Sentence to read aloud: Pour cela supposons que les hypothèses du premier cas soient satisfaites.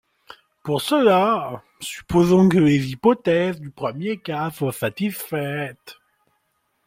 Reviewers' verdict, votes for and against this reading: accepted, 2, 1